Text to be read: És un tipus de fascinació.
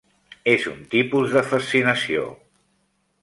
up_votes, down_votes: 3, 0